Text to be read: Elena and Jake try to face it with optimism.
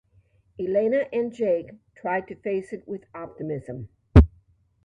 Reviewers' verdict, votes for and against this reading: accepted, 2, 0